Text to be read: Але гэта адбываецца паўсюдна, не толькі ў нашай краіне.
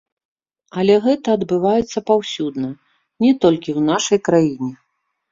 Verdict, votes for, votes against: rejected, 1, 2